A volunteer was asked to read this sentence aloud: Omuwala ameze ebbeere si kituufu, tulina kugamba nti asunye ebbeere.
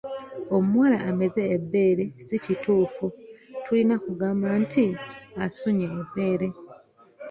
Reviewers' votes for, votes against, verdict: 2, 1, accepted